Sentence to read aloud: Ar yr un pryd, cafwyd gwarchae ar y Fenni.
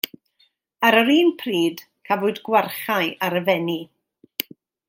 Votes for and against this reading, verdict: 2, 0, accepted